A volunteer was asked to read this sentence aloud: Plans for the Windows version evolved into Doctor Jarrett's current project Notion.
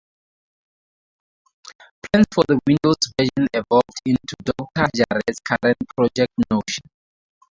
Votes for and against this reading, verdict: 0, 4, rejected